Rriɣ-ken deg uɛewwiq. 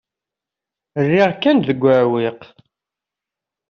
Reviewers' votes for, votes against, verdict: 0, 2, rejected